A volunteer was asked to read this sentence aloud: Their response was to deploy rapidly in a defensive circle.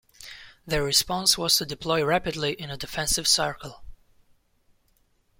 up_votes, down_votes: 2, 0